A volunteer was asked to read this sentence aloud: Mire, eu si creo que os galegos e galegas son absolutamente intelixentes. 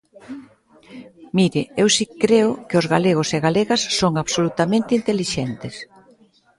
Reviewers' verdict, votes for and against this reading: rejected, 1, 2